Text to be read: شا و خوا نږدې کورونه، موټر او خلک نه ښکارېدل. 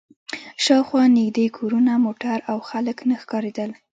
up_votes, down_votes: 0, 2